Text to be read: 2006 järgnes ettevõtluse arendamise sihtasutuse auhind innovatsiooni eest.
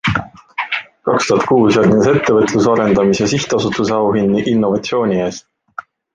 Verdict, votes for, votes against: rejected, 0, 2